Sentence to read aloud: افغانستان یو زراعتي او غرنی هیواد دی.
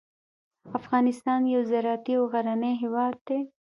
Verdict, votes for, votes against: accepted, 2, 0